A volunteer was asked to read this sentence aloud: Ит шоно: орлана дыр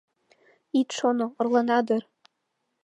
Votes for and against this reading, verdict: 2, 1, accepted